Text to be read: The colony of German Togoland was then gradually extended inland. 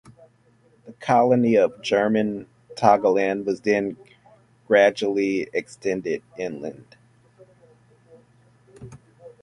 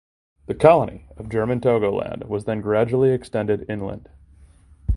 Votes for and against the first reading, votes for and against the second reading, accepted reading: 1, 2, 2, 0, second